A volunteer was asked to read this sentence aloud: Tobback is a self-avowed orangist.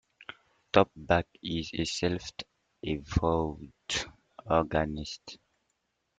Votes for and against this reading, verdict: 0, 2, rejected